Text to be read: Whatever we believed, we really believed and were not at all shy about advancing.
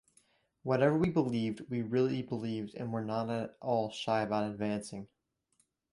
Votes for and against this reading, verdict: 2, 0, accepted